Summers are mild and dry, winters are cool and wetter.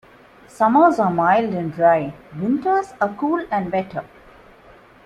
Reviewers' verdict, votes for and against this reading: accepted, 2, 0